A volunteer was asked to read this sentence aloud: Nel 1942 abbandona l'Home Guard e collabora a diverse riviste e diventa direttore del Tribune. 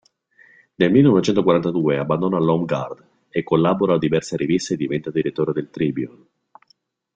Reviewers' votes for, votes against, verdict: 0, 2, rejected